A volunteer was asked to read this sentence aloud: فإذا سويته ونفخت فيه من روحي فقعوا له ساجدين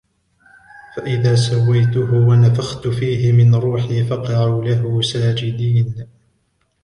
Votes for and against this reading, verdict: 1, 2, rejected